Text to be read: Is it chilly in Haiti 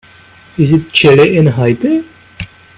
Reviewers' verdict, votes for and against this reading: accepted, 2, 0